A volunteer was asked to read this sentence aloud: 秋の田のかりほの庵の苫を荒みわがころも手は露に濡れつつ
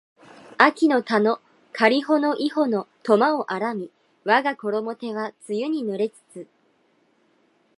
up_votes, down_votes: 2, 1